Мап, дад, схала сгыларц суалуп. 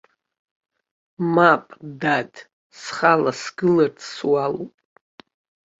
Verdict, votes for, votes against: accepted, 3, 1